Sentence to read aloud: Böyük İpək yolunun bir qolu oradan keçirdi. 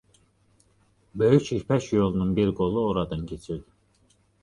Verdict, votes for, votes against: accepted, 2, 0